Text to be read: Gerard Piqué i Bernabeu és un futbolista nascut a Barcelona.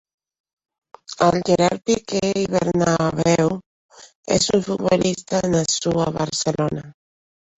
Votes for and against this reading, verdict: 0, 2, rejected